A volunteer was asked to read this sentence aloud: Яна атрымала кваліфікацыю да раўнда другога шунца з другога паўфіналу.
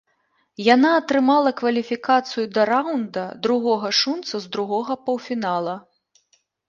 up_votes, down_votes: 3, 0